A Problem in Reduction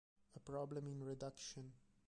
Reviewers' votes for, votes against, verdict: 0, 2, rejected